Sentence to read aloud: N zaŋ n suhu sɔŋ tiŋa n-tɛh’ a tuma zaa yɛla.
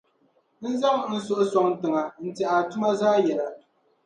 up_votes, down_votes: 0, 2